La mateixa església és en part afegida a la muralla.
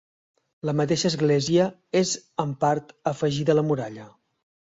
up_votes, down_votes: 4, 0